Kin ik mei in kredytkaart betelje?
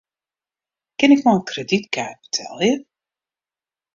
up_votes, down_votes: 2, 0